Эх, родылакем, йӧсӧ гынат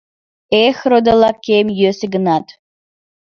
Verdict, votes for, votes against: accepted, 2, 0